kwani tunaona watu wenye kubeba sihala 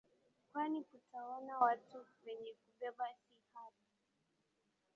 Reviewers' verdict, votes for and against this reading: accepted, 2, 0